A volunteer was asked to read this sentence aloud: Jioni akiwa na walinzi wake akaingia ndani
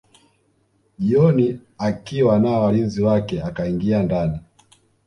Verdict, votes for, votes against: rejected, 1, 2